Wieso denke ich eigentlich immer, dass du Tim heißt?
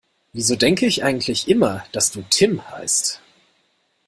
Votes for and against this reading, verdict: 2, 0, accepted